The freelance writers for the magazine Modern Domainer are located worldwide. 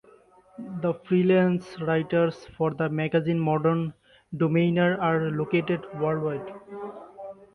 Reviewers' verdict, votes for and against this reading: accepted, 2, 1